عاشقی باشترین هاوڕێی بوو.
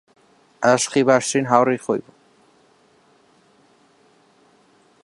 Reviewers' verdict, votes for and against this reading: rejected, 1, 2